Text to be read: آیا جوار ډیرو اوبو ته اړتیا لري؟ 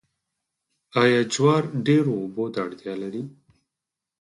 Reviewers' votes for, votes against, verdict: 0, 4, rejected